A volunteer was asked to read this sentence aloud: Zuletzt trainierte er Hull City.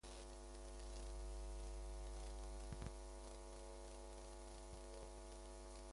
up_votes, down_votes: 0, 2